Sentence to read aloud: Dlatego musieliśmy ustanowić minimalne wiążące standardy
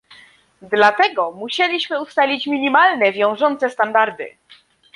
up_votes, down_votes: 0, 2